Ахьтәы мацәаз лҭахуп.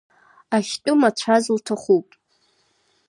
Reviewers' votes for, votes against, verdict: 2, 0, accepted